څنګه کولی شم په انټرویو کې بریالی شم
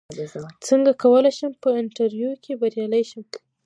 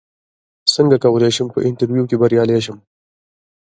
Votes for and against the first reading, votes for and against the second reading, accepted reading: 0, 2, 2, 0, second